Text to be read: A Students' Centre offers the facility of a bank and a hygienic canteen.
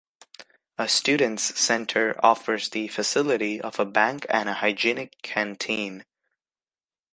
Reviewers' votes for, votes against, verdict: 2, 0, accepted